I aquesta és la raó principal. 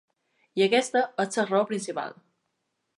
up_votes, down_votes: 2, 1